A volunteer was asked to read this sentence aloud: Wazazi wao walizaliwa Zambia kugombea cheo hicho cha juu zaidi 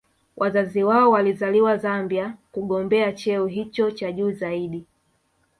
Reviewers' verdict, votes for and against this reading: rejected, 1, 2